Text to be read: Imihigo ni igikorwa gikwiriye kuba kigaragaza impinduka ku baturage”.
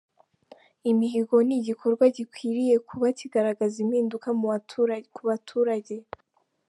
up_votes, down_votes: 0, 2